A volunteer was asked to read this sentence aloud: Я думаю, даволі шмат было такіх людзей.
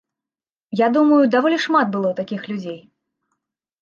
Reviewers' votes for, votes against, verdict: 2, 0, accepted